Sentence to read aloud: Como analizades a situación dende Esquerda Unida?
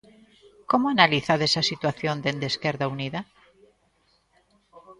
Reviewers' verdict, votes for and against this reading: rejected, 0, 2